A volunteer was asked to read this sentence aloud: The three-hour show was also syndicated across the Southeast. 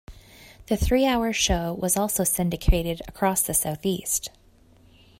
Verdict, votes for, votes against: accepted, 2, 0